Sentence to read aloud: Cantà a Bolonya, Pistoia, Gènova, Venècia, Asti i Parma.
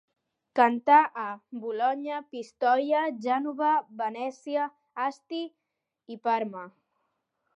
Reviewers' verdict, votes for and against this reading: rejected, 1, 2